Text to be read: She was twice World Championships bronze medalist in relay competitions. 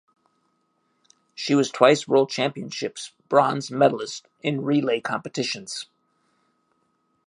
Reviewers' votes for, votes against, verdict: 2, 0, accepted